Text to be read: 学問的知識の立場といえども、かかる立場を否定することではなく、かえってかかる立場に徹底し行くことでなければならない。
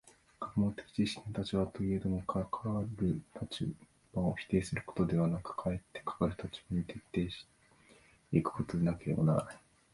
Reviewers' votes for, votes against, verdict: 1, 2, rejected